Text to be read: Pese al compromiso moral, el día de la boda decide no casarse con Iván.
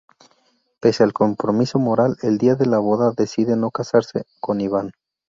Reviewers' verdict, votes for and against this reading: rejected, 0, 2